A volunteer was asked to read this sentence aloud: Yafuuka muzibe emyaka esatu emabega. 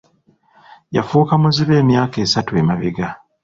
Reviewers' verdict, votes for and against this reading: accepted, 2, 1